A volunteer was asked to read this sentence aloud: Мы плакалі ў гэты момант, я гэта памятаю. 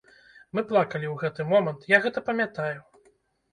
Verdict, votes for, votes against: rejected, 0, 2